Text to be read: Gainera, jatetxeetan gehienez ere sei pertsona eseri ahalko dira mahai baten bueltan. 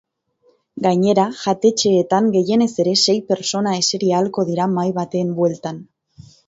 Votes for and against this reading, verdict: 2, 0, accepted